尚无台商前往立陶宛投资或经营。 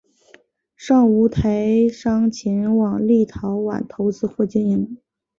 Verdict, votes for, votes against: rejected, 1, 3